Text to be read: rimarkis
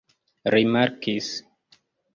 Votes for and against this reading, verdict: 2, 1, accepted